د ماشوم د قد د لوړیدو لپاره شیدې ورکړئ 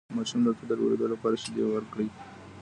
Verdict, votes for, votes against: rejected, 1, 2